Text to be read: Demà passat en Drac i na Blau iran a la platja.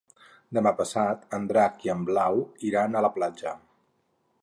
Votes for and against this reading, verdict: 0, 4, rejected